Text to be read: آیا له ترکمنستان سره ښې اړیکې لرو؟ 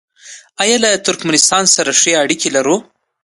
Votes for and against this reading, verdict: 2, 0, accepted